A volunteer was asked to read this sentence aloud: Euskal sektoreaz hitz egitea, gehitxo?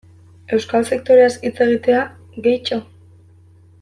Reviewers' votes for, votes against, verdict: 2, 0, accepted